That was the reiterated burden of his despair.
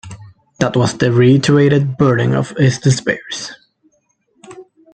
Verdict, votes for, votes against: accepted, 2, 0